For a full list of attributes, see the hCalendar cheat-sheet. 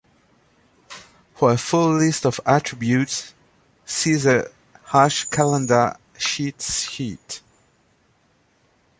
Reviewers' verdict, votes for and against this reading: rejected, 0, 2